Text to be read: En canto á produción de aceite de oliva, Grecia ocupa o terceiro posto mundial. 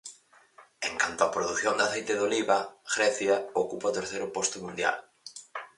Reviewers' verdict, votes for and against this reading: accepted, 4, 0